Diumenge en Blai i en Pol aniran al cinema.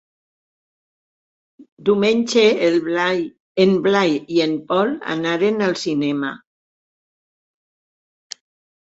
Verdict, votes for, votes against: rejected, 1, 4